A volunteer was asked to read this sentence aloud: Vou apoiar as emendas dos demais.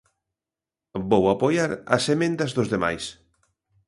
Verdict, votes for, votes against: accepted, 2, 0